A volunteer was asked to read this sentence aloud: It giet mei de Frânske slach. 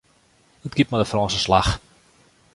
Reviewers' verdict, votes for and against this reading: accepted, 2, 1